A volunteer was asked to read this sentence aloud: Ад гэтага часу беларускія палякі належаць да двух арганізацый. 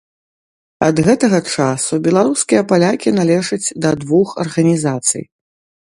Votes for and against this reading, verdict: 2, 0, accepted